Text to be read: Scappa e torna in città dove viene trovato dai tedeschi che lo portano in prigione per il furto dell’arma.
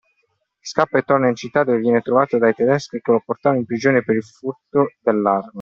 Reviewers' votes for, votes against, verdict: 2, 0, accepted